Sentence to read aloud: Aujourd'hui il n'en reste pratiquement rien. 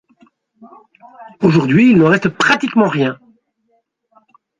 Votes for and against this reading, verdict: 1, 3, rejected